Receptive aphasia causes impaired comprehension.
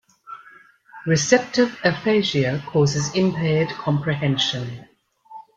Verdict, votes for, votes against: accepted, 2, 0